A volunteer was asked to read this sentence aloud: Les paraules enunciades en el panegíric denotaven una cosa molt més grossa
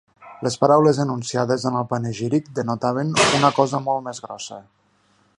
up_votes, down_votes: 1, 2